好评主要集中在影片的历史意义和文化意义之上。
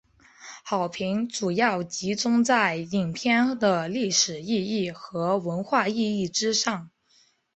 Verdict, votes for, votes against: accepted, 3, 0